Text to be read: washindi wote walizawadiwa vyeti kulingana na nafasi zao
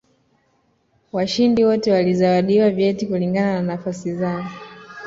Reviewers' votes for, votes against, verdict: 2, 0, accepted